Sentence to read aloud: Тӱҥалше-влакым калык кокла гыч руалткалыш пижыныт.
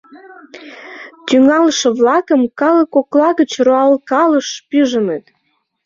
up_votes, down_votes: 1, 2